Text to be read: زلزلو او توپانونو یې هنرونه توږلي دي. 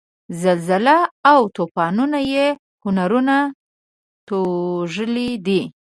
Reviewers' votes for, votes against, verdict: 1, 2, rejected